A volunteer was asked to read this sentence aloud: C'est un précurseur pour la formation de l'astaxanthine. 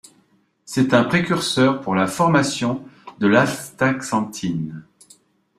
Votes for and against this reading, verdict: 2, 1, accepted